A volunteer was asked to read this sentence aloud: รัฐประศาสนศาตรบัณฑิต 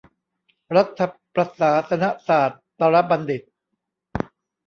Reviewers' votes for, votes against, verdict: 1, 2, rejected